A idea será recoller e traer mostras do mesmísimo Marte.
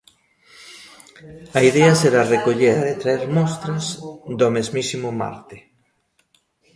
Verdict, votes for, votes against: accepted, 2, 0